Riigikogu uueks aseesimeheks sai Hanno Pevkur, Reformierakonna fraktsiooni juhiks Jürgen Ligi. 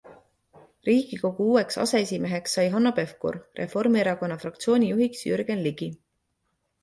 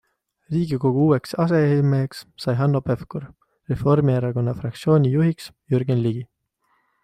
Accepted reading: first